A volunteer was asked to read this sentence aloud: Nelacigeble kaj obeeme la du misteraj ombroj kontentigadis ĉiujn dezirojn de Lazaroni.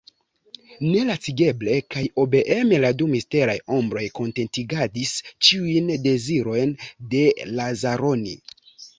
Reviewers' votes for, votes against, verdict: 2, 0, accepted